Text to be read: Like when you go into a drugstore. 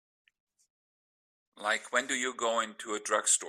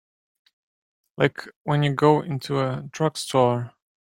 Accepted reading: second